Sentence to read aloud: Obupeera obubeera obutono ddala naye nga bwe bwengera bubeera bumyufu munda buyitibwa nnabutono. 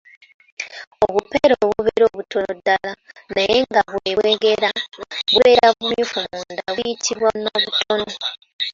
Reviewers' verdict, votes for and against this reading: rejected, 0, 2